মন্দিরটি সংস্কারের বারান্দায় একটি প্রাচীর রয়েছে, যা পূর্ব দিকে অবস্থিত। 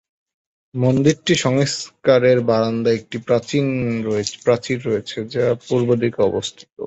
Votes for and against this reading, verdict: 0, 2, rejected